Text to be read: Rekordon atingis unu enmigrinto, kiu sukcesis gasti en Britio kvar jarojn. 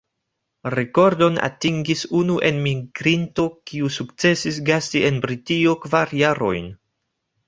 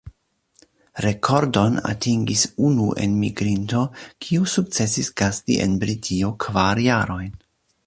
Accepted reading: second